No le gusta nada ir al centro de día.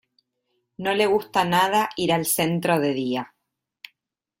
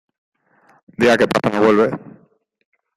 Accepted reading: first